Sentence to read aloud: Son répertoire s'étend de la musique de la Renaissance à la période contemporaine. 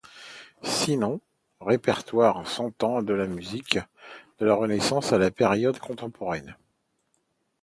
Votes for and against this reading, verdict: 0, 2, rejected